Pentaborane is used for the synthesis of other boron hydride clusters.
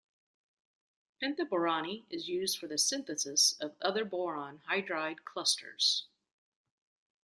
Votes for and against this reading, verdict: 0, 2, rejected